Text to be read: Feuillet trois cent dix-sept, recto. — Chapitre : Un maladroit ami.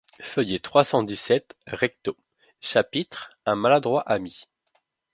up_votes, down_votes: 0, 2